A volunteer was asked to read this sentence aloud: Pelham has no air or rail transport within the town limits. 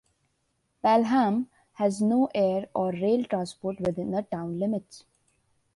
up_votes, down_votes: 2, 0